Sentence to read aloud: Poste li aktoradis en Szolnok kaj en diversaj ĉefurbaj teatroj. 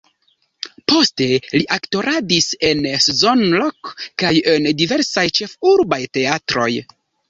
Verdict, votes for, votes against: rejected, 1, 2